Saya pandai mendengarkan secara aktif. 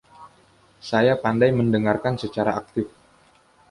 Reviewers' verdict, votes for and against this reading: accepted, 2, 0